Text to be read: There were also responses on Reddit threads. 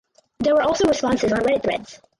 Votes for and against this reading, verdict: 6, 8, rejected